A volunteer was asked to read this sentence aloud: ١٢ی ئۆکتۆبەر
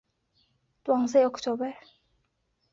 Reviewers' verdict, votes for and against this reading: rejected, 0, 2